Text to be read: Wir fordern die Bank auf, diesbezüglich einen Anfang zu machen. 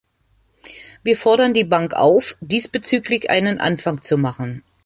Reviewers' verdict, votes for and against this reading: accepted, 2, 1